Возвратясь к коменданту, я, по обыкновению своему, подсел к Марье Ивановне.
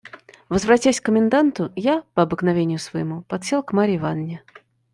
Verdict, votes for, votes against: accepted, 2, 0